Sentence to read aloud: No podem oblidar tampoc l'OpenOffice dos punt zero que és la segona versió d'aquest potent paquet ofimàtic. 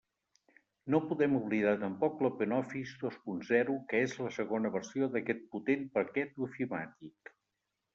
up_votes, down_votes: 2, 0